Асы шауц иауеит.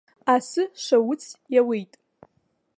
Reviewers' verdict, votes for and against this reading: accepted, 2, 1